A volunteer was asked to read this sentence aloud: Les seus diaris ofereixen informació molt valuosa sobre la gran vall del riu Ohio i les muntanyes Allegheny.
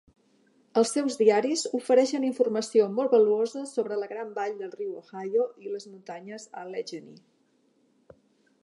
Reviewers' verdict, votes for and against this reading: rejected, 1, 2